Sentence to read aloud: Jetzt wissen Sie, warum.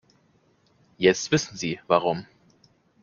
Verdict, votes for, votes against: accepted, 2, 0